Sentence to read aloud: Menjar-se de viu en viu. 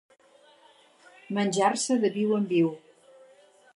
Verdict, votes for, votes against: accepted, 4, 0